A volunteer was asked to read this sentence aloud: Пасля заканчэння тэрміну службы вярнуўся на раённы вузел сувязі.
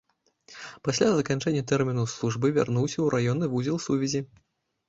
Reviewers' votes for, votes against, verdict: 0, 2, rejected